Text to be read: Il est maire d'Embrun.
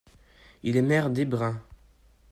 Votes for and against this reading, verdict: 1, 2, rejected